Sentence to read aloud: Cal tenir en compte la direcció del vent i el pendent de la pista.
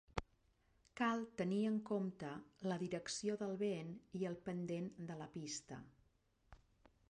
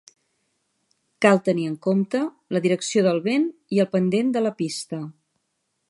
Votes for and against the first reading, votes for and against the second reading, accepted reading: 1, 2, 3, 0, second